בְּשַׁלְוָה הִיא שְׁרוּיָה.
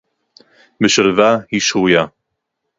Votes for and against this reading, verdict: 4, 2, accepted